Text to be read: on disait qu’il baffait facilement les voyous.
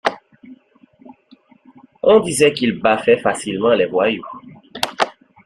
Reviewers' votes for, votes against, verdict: 2, 0, accepted